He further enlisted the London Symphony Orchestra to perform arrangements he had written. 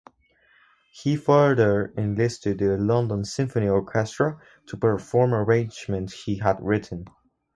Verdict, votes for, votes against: accepted, 4, 0